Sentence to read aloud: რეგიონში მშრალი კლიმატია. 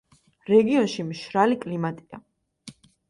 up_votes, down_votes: 2, 0